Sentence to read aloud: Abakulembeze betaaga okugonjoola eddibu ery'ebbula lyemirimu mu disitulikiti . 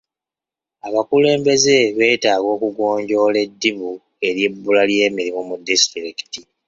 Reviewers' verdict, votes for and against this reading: accepted, 2, 0